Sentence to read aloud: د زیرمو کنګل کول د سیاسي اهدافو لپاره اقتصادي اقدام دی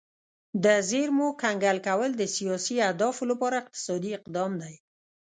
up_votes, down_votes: 2, 0